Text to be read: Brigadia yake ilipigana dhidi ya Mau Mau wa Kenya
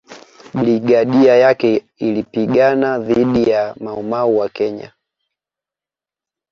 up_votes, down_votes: 2, 0